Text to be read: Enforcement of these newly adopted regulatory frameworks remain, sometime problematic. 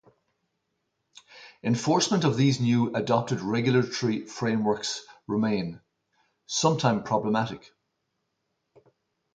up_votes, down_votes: 2, 2